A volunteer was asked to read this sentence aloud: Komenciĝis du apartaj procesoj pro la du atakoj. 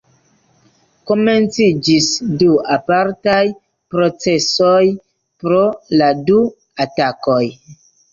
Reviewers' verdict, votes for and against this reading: accepted, 2, 1